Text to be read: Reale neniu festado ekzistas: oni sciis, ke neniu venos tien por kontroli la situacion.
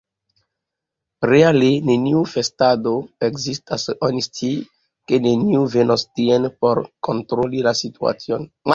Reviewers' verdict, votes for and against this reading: accepted, 2, 1